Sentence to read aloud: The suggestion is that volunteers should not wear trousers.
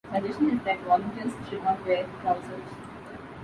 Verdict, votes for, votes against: rejected, 1, 2